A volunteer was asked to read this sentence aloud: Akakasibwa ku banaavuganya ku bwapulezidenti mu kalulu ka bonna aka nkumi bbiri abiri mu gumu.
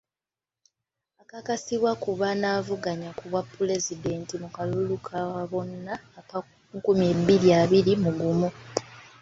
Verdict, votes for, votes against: rejected, 1, 2